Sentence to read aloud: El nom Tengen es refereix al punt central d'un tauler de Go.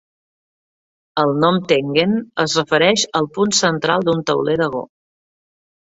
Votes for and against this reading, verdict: 2, 0, accepted